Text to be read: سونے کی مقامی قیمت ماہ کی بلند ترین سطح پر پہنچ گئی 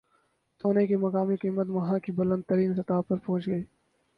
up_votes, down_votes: 2, 4